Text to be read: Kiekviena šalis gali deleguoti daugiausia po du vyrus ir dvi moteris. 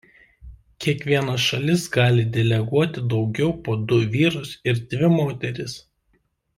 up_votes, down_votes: 1, 2